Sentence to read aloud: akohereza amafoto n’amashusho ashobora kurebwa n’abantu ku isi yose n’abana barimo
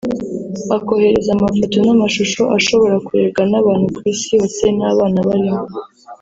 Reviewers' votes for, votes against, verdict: 2, 0, accepted